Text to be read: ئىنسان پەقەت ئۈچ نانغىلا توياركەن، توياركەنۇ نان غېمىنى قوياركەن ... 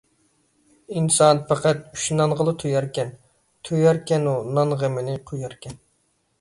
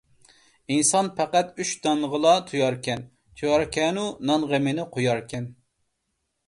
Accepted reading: first